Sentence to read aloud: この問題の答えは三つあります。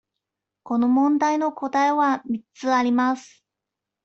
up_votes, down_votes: 2, 0